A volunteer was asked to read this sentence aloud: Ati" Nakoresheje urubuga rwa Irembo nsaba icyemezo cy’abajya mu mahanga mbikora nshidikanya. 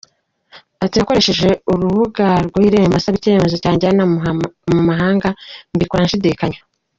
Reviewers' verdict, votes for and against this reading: rejected, 1, 2